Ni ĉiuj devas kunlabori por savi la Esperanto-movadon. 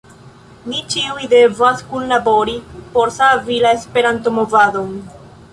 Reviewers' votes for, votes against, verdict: 0, 2, rejected